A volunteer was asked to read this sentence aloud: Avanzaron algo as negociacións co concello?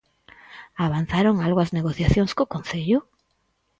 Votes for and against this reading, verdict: 4, 0, accepted